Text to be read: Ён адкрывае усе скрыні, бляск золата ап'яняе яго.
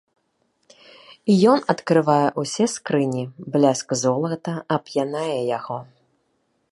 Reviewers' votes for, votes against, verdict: 1, 2, rejected